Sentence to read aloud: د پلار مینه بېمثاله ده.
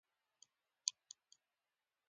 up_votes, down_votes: 1, 2